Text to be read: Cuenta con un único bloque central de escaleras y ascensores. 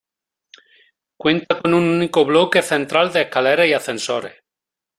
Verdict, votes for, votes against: rejected, 1, 2